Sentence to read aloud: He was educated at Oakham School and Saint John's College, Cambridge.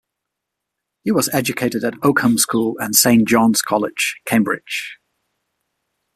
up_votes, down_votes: 2, 0